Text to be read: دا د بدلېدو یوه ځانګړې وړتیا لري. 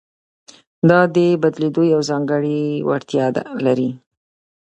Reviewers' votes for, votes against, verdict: 2, 0, accepted